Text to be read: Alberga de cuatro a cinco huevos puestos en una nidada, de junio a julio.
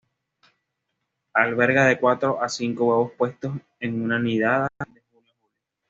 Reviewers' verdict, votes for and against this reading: rejected, 1, 2